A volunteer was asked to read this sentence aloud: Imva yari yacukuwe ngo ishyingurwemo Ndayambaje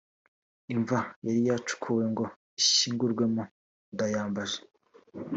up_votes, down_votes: 1, 2